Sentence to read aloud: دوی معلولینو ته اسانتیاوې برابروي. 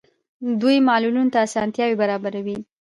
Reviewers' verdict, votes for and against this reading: rejected, 1, 2